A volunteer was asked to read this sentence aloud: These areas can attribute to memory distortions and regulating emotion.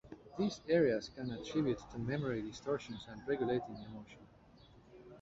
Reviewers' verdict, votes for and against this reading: rejected, 1, 2